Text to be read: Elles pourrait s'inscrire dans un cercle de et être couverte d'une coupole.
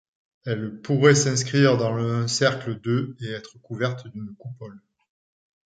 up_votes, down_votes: 1, 2